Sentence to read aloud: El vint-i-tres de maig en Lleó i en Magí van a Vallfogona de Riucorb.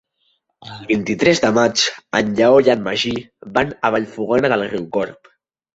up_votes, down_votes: 0, 3